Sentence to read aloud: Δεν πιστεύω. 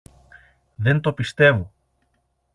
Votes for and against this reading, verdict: 0, 2, rejected